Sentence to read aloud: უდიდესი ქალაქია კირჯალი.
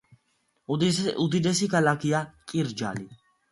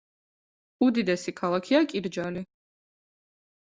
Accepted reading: second